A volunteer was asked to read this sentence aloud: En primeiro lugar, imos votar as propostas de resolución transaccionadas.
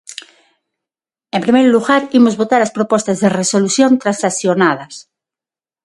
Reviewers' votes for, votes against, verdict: 6, 0, accepted